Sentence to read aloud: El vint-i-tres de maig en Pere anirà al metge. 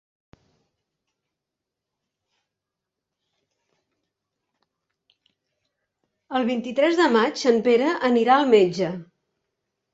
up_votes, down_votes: 1, 2